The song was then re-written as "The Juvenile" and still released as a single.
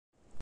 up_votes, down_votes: 0, 2